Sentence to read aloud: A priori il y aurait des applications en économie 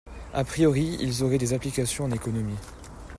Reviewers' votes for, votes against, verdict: 0, 3, rejected